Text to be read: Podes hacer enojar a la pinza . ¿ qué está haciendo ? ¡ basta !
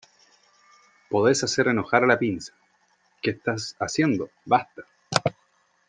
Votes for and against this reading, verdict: 2, 1, accepted